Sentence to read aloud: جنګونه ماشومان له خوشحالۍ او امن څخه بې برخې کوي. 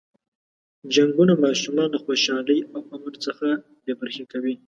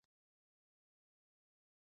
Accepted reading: first